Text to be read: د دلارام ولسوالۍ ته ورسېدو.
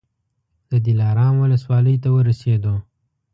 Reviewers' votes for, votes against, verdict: 2, 0, accepted